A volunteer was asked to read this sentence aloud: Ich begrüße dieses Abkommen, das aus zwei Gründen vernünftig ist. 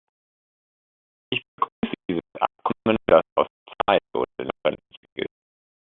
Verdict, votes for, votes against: rejected, 0, 2